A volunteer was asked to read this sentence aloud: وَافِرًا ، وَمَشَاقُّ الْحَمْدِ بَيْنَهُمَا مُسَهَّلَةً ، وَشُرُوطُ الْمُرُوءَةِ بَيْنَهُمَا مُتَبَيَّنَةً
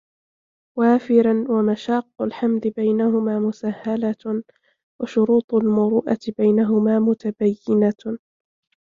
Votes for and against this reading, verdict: 1, 2, rejected